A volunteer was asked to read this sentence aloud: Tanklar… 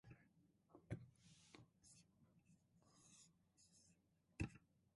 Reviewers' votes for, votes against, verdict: 0, 2, rejected